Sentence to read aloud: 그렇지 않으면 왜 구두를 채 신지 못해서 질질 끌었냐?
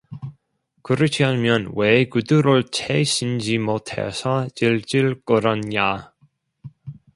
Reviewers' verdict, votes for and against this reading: rejected, 1, 2